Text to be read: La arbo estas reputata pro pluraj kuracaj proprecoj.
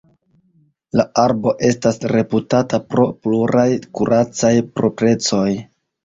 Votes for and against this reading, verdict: 1, 2, rejected